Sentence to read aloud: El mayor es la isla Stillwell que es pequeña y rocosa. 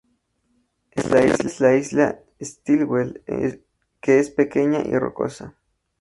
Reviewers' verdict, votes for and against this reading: rejected, 0, 2